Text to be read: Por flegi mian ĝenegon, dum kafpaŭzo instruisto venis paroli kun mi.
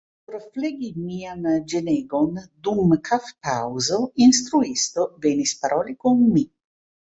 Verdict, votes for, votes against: accepted, 2, 0